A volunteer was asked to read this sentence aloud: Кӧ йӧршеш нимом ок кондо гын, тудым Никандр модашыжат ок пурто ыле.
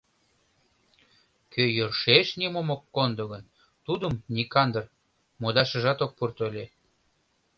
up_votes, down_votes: 2, 0